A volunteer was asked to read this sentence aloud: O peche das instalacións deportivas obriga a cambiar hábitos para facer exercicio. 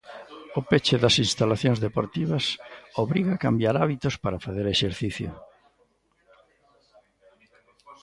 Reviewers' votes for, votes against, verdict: 1, 2, rejected